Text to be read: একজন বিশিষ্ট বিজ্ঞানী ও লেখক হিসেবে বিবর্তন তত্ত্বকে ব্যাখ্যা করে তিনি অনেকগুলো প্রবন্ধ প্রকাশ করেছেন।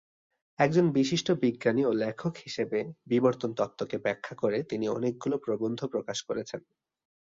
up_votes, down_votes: 9, 1